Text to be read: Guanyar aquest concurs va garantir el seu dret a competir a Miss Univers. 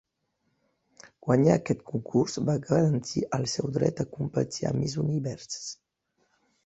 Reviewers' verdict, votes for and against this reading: rejected, 0, 2